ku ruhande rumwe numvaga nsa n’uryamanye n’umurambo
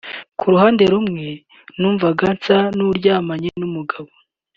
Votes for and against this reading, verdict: 1, 2, rejected